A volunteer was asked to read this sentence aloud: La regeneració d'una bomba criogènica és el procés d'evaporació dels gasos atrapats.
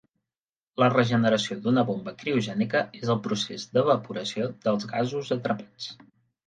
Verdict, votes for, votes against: accepted, 3, 0